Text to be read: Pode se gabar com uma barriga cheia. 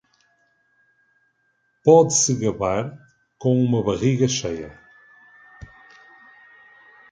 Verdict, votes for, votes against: accepted, 2, 0